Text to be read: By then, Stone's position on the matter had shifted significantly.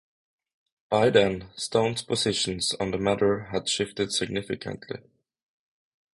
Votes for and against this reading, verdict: 0, 3, rejected